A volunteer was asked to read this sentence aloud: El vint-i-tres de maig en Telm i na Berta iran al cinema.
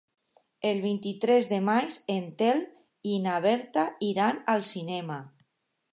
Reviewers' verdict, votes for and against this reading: accepted, 2, 0